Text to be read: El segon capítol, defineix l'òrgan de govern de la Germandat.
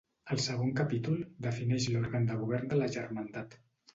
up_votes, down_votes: 2, 0